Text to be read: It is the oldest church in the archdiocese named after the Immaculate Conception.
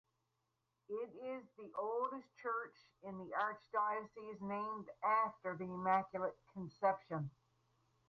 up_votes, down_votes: 6, 2